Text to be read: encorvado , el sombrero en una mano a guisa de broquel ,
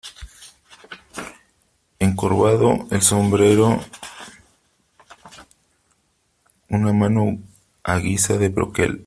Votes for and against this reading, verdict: 0, 3, rejected